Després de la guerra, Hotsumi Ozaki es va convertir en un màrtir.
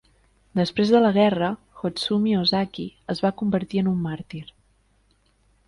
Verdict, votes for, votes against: accepted, 2, 0